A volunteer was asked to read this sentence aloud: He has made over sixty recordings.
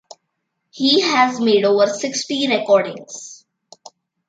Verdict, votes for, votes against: accepted, 2, 0